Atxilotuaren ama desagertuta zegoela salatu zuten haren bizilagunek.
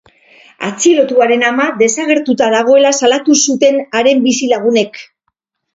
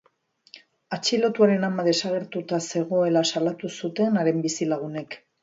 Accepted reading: second